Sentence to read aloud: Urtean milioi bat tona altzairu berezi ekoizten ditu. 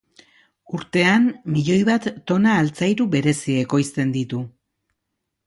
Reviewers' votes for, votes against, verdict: 2, 0, accepted